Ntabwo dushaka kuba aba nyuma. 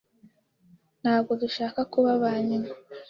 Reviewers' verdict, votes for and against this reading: accepted, 2, 0